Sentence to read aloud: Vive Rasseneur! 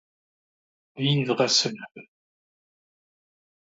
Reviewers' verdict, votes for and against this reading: rejected, 0, 2